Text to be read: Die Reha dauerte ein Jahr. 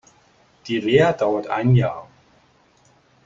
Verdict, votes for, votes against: rejected, 0, 2